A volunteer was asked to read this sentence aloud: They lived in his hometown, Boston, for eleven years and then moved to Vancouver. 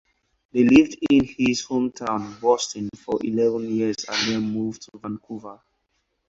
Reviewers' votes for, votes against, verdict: 4, 0, accepted